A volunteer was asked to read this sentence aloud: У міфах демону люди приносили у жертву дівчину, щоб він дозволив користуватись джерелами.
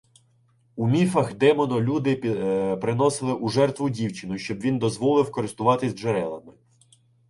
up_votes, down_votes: 0, 2